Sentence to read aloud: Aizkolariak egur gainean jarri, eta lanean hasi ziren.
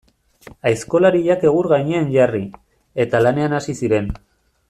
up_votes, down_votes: 2, 1